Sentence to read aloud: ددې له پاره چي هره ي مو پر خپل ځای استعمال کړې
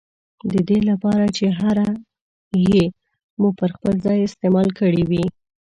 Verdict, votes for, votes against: rejected, 2, 3